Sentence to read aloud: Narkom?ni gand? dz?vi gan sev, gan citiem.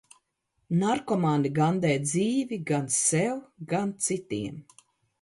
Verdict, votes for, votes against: rejected, 0, 2